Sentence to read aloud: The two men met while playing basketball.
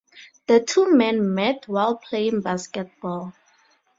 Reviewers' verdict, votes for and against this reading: accepted, 2, 0